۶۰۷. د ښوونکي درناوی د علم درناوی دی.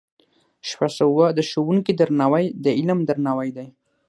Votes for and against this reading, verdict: 0, 2, rejected